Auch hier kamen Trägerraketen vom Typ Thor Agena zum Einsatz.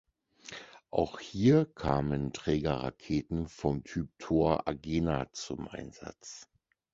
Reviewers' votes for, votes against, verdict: 4, 0, accepted